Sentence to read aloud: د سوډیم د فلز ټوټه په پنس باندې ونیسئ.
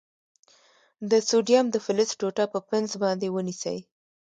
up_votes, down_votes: 2, 0